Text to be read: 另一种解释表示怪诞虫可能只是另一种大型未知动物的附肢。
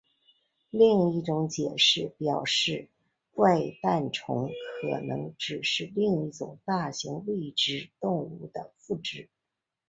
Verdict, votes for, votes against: accepted, 5, 1